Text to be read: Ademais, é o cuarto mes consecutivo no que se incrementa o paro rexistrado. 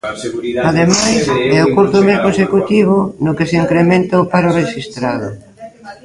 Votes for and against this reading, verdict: 0, 2, rejected